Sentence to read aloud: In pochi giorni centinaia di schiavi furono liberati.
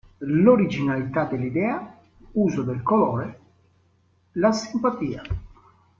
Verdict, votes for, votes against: rejected, 0, 2